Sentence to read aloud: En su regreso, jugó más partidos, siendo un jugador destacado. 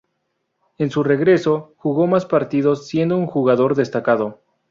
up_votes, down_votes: 2, 0